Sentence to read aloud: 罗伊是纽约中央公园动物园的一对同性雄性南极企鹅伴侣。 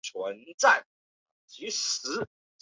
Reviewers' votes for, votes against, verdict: 0, 4, rejected